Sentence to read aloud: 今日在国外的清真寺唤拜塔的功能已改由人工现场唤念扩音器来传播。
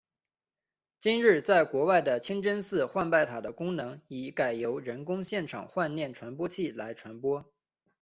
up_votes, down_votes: 2, 0